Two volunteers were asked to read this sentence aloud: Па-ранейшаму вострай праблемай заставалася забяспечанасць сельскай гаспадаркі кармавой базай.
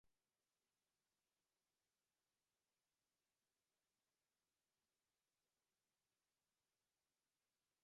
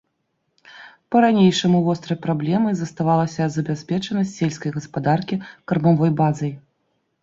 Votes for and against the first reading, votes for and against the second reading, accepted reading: 0, 2, 2, 0, second